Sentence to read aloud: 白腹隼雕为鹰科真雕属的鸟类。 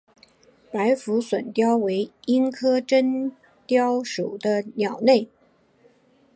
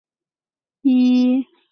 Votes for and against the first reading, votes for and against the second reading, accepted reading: 3, 0, 1, 2, first